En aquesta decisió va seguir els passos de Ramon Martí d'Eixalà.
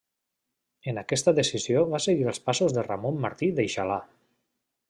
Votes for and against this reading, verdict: 2, 0, accepted